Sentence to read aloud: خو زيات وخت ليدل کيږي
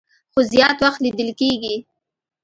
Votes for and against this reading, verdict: 2, 0, accepted